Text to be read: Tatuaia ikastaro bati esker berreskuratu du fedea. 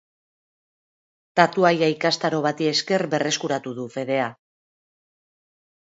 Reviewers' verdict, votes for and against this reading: accepted, 2, 0